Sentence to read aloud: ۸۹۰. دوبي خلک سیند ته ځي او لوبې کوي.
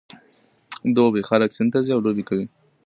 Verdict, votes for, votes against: rejected, 0, 2